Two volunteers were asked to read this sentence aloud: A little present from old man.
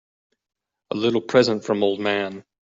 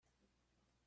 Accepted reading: first